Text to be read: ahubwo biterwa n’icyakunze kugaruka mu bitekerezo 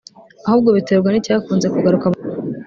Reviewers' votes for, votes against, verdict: 0, 2, rejected